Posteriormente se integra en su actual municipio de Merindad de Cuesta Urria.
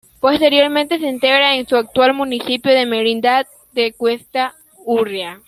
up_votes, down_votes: 2, 0